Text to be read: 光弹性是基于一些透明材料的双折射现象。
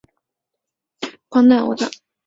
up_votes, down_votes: 0, 4